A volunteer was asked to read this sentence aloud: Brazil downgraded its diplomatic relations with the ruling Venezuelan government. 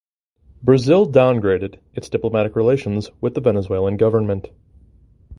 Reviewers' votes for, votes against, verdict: 1, 2, rejected